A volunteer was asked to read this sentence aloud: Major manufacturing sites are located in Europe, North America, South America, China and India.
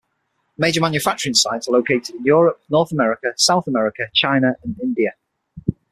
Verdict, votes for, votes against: accepted, 6, 0